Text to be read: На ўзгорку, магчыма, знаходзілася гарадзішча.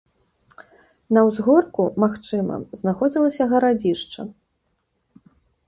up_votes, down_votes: 2, 0